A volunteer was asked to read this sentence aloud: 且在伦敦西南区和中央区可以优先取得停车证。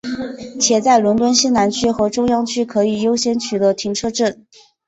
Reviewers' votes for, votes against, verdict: 2, 0, accepted